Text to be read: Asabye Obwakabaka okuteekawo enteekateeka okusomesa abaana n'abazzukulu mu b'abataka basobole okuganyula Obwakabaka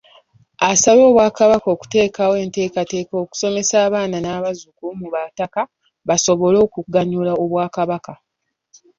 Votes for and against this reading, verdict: 2, 0, accepted